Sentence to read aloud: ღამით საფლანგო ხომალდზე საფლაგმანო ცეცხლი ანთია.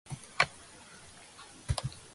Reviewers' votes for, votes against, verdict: 0, 2, rejected